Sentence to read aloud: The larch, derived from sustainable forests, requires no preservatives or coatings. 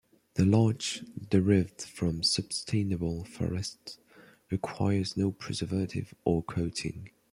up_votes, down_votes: 1, 2